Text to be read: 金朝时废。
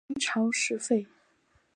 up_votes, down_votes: 1, 2